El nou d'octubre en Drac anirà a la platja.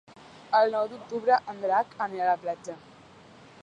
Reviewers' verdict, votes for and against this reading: rejected, 1, 2